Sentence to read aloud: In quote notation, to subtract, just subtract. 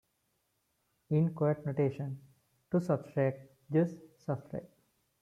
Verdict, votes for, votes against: accepted, 2, 1